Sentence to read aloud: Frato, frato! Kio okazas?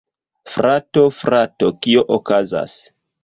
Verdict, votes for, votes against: accepted, 2, 0